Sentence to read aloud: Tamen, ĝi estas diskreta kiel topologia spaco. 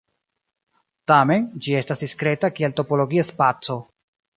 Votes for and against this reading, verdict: 2, 1, accepted